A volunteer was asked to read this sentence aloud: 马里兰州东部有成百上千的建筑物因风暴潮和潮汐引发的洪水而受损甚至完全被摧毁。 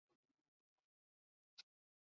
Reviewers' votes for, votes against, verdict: 1, 5, rejected